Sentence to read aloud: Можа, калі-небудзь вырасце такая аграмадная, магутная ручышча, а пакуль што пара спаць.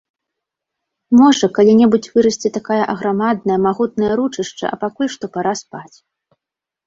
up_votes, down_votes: 0, 2